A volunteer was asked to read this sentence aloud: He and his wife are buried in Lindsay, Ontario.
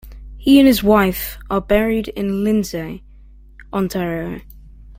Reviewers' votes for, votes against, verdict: 2, 0, accepted